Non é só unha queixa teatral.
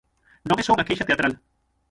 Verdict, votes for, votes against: rejected, 0, 6